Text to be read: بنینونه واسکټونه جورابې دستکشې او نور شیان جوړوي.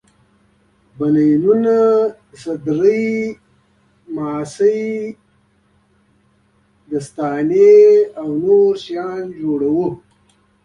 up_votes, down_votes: 3, 1